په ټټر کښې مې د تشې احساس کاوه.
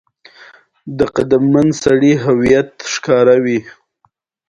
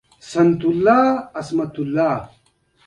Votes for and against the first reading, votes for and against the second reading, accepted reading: 2, 1, 0, 2, first